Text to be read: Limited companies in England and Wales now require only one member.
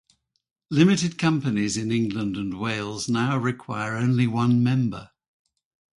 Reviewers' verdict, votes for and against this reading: rejected, 2, 2